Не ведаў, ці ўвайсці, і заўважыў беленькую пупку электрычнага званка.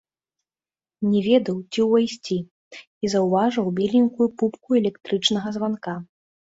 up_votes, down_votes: 0, 2